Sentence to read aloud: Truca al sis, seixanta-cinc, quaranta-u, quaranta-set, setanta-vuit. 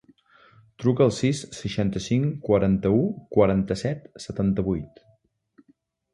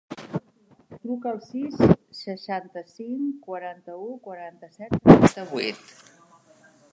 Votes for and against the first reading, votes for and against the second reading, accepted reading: 3, 0, 0, 2, first